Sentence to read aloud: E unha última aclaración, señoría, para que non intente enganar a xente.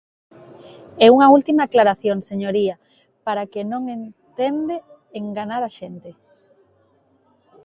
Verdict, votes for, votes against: rejected, 0, 2